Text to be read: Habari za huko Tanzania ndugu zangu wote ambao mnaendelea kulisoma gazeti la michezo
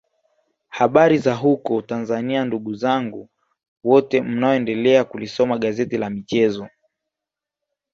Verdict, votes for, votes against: rejected, 3, 4